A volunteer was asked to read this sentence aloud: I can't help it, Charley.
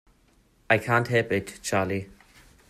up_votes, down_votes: 2, 1